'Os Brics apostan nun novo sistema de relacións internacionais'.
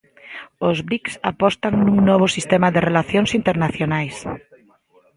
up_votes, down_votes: 1, 2